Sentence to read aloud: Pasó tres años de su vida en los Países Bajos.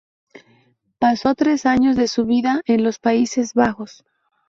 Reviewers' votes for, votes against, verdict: 2, 0, accepted